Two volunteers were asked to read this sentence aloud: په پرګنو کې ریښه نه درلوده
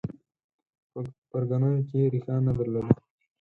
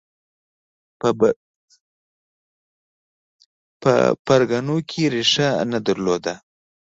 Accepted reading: first